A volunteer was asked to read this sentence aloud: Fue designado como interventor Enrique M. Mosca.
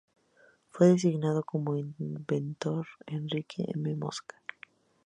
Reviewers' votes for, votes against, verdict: 0, 2, rejected